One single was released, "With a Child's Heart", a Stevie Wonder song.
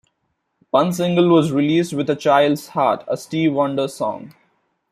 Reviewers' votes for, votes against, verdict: 0, 2, rejected